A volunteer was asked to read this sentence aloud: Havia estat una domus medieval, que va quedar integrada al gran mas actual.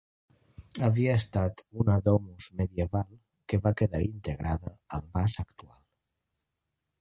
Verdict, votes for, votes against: rejected, 0, 2